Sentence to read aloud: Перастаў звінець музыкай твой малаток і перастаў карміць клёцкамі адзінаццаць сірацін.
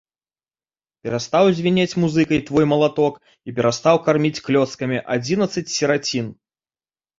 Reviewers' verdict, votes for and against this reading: rejected, 0, 2